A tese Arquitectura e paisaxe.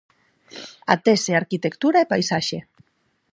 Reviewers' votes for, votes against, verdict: 4, 0, accepted